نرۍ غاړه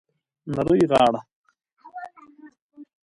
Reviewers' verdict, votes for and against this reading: accepted, 2, 1